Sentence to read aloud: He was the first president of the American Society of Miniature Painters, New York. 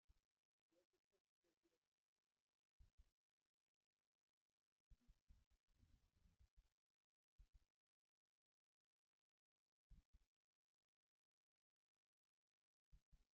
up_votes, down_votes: 0, 2